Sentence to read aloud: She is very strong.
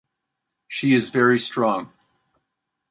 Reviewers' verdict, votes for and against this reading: accepted, 2, 0